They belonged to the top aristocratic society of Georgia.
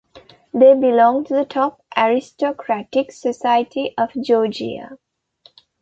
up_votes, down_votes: 2, 0